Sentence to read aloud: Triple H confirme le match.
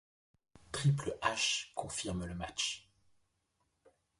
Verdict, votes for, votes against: accepted, 2, 0